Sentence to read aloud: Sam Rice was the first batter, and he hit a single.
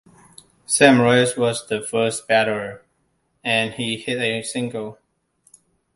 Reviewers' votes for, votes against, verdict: 2, 0, accepted